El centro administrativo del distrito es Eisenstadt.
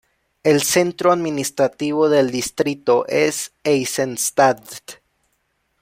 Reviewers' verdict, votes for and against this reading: accepted, 2, 0